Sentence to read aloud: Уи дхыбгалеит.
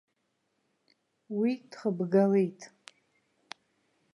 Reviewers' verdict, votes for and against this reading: accepted, 2, 1